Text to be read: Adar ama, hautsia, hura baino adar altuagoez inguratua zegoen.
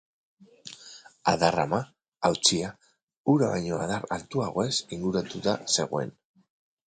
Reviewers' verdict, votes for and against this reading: rejected, 2, 2